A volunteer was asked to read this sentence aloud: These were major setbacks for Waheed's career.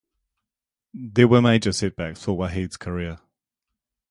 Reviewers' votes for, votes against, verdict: 2, 2, rejected